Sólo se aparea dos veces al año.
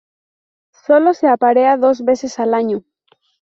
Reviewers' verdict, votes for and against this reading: rejected, 2, 2